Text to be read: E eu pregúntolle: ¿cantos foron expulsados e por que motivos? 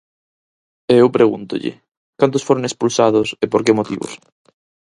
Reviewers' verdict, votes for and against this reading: accepted, 4, 0